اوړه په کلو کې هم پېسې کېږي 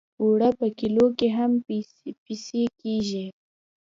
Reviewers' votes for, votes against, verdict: 0, 2, rejected